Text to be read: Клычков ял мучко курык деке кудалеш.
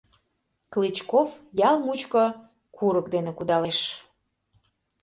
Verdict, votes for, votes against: rejected, 0, 2